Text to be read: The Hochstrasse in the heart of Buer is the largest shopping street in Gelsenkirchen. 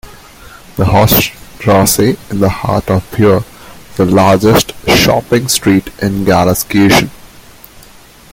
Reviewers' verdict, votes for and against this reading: accepted, 2, 0